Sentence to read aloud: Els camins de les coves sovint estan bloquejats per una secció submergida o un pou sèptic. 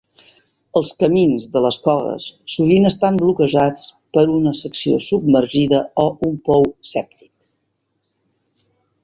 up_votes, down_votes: 3, 0